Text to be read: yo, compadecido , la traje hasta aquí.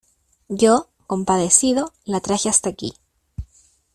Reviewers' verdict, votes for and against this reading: accepted, 2, 0